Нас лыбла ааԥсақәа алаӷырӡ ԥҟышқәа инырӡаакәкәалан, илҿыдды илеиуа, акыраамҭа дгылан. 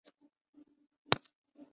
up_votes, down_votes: 0, 3